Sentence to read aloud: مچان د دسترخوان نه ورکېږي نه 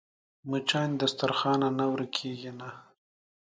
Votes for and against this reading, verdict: 2, 0, accepted